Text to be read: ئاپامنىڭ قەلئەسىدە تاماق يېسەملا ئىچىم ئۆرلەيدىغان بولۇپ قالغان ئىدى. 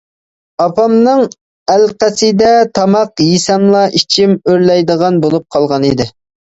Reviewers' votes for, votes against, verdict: 0, 2, rejected